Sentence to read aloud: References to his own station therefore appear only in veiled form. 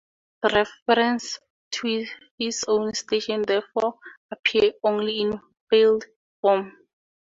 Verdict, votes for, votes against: rejected, 0, 2